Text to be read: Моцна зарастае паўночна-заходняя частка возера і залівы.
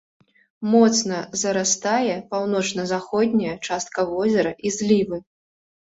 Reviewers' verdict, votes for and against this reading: rejected, 0, 2